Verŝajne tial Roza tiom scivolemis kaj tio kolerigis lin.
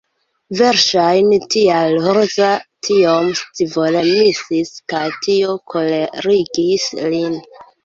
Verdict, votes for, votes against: rejected, 1, 2